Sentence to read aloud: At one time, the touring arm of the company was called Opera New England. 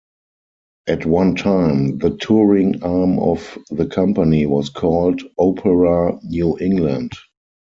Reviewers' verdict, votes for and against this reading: accepted, 4, 0